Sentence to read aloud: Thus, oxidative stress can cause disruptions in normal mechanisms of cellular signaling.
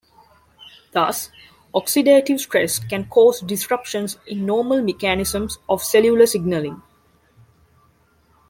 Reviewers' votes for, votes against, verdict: 1, 2, rejected